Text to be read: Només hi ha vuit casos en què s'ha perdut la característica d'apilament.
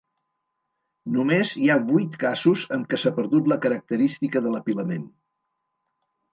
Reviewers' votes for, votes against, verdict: 0, 2, rejected